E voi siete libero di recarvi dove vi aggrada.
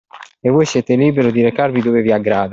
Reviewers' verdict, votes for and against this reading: accepted, 2, 0